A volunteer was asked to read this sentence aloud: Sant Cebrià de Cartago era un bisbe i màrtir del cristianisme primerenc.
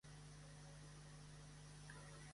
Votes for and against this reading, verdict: 1, 2, rejected